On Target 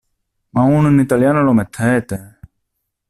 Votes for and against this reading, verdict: 0, 2, rejected